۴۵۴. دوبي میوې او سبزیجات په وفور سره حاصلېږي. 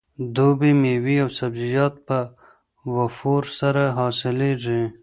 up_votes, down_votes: 0, 2